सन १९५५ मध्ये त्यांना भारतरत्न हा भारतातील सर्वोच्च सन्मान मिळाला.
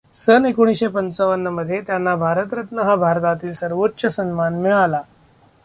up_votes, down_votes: 0, 2